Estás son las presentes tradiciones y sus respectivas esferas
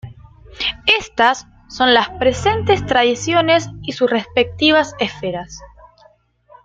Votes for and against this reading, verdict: 1, 2, rejected